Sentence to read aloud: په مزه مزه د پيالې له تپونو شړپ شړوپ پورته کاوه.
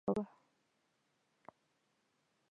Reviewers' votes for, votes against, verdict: 0, 2, rejected